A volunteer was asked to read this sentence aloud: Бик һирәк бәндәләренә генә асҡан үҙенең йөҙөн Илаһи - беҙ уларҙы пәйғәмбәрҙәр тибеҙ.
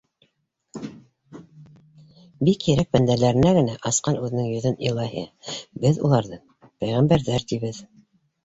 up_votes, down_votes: 1, 2